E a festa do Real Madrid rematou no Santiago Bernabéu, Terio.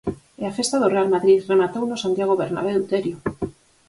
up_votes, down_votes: 4, 0